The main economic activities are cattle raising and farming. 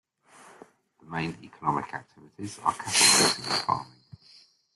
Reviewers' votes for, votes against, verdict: 1, 2, rejected